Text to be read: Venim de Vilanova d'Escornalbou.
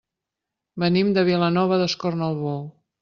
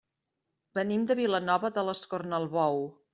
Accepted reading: first